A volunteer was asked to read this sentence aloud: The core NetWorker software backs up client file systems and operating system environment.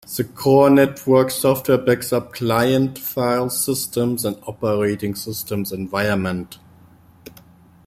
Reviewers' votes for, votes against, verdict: 3, 1, accepted